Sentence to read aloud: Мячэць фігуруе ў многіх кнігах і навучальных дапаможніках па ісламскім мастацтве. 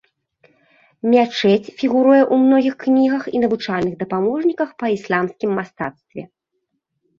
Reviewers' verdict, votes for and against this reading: rejected, 1, 2